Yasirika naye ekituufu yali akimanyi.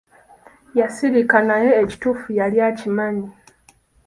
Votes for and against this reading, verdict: 2, 0, accepted